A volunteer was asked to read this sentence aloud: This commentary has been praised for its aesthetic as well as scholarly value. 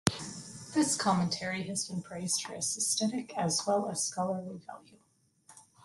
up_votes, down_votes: 2, 0